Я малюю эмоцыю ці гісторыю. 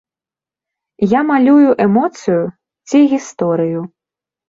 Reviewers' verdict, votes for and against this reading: accepted, 2, 0